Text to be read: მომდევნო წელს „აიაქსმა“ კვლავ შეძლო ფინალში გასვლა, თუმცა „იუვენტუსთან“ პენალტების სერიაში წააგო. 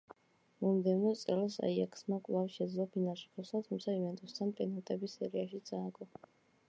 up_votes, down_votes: 2, 0